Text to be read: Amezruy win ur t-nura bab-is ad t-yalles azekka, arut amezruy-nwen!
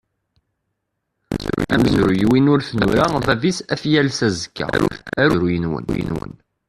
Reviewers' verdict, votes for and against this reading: rejected, 0, 2